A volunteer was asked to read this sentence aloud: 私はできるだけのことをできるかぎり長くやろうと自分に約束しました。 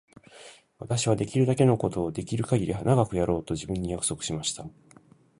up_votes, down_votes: 1, 2